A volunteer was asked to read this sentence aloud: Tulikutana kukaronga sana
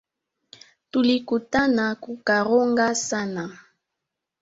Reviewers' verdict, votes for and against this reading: rejected, 1, 3